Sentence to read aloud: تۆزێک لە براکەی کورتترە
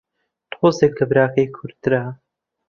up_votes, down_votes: 2, 0